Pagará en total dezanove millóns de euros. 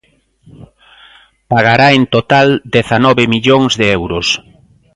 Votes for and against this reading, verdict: 2, 0, accepted